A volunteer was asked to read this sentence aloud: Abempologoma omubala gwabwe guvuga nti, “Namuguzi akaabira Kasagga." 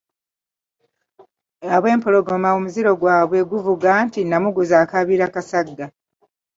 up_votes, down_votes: 0, 2